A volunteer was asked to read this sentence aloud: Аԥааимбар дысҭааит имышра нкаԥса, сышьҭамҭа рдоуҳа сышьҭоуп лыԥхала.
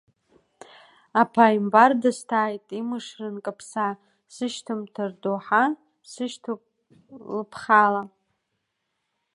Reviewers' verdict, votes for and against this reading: accepted, 2, 1